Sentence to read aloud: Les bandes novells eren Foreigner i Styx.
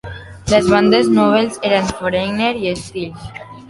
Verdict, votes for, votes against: rejected, 2, 3